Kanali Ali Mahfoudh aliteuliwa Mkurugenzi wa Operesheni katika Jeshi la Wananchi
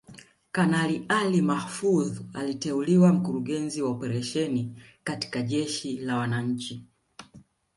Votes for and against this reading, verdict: 2, 0, accepted